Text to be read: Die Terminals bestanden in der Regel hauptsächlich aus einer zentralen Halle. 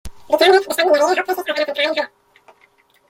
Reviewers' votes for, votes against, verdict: 0, 2, rejected